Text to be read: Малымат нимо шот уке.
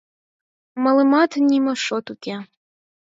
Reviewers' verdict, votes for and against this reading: accepted, 4, 0